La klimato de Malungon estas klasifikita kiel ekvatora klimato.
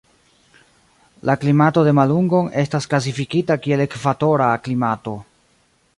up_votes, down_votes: 1, 2